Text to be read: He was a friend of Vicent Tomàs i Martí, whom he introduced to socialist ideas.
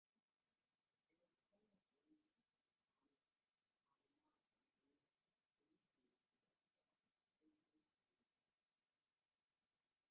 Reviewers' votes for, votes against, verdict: 0, 2, rejected